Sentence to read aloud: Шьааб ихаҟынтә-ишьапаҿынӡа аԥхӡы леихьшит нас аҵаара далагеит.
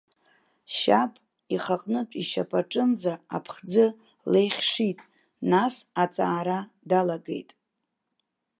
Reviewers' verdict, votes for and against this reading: accepted, 2, 1